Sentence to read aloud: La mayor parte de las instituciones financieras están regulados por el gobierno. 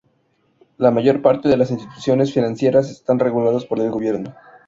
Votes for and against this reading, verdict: 2, 0, accepted